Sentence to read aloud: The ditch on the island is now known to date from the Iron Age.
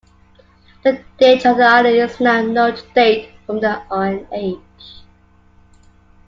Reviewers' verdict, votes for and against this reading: accepted, 2, 1